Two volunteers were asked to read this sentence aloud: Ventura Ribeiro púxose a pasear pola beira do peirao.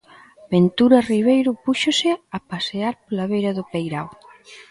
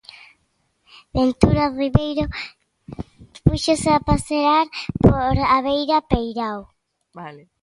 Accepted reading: first